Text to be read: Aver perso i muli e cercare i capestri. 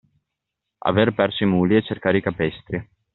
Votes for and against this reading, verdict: 2, 0, accepted